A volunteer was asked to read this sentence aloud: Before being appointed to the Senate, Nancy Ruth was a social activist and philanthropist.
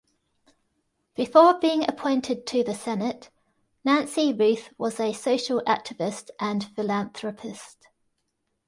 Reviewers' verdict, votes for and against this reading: accepted, 2, 0